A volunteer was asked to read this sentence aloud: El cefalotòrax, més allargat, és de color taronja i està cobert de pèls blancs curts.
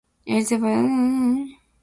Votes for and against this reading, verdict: 0, 2, rejected